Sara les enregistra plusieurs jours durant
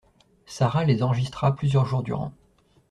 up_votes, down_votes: 2, 0